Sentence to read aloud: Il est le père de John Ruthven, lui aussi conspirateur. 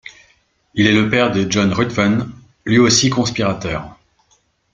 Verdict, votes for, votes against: accepted, 2, 0